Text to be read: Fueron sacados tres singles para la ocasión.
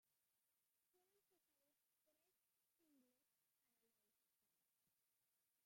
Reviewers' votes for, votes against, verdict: 0, 2, rejected